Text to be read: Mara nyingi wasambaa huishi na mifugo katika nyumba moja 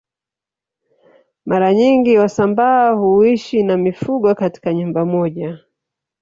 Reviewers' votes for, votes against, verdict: 1, 2, rejected